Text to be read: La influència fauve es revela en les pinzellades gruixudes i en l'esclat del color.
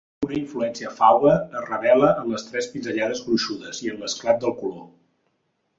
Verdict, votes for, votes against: rejected, 0, 2